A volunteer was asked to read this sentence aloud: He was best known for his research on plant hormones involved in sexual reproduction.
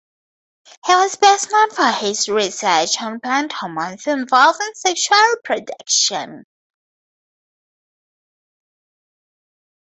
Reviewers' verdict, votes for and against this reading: rejected, 0, 4